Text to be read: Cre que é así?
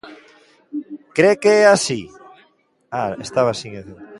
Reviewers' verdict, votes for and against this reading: rejected, 0, 2